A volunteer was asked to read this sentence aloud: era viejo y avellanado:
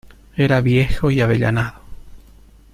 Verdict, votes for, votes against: accepted, 2, 0